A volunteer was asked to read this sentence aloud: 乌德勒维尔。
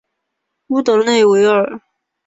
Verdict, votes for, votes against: accepted, 2, 0